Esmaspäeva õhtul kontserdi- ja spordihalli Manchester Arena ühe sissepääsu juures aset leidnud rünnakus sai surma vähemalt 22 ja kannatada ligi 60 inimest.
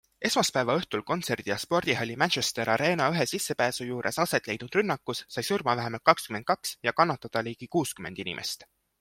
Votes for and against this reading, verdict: 0, 2, rejected